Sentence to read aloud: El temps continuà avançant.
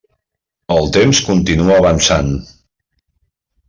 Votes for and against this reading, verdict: 1, 2, rejected